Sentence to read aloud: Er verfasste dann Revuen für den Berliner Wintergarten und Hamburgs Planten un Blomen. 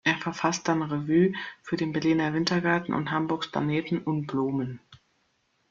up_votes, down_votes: 0, 2